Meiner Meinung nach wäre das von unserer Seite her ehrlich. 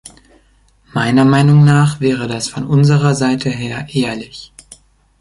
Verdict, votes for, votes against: accepted, 2, 0